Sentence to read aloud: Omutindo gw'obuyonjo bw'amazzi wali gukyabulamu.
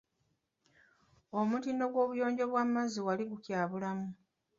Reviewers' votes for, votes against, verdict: 0, 2, rejected